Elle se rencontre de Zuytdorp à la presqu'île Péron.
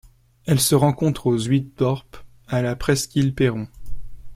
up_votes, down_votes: 1, 2